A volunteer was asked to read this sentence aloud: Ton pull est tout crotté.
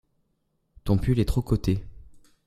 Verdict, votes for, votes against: rejected, 0, 2